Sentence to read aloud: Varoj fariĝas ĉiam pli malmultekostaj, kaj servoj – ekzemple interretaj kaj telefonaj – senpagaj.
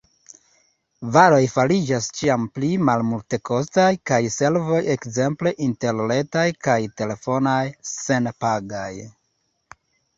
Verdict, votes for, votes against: accepted, 2, 0